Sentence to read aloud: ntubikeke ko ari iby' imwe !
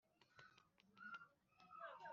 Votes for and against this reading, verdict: 2, 0, accepted